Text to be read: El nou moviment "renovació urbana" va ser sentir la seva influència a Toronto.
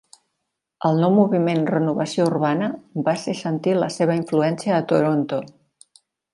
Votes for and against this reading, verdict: 2, 0, accepted